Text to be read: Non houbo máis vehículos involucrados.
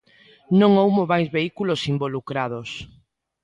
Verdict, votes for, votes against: accepted, 2, 0